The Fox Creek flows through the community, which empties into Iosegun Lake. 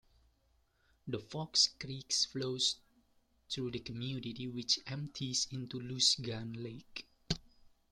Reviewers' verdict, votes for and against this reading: rejected, 0, 2